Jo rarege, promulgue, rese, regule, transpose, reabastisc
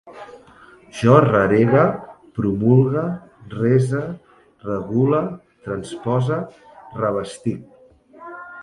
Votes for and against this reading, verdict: 2, 1, accepted